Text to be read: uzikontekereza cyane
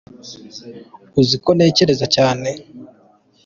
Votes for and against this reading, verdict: 2, 1, accepted